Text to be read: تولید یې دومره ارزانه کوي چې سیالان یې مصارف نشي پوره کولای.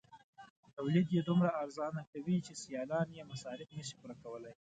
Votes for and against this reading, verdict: 0, 2, rejected